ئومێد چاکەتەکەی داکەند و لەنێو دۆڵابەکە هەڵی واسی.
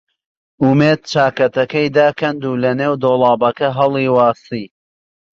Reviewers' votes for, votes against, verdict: 2, 0, accepted